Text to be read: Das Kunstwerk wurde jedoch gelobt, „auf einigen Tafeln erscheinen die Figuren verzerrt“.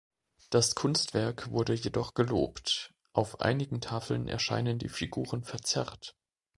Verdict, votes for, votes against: accepted, 2, 0